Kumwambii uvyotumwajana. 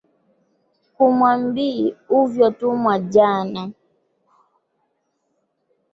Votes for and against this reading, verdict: 1, 2, rejected